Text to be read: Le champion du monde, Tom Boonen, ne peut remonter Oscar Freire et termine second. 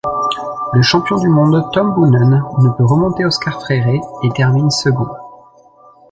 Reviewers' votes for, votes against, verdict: 2, 0, accepted